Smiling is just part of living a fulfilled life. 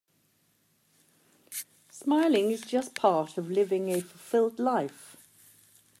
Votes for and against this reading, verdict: 1, 2, rejected